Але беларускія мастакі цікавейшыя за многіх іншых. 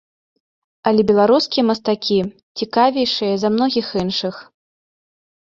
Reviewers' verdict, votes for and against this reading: accepted, 2, 0